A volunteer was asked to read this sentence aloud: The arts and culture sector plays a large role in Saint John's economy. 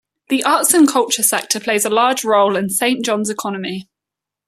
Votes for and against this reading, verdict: 2, 0, accepted